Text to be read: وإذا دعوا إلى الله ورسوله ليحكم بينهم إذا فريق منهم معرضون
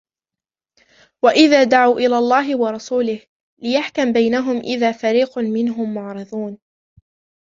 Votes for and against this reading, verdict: 0, 2, rejected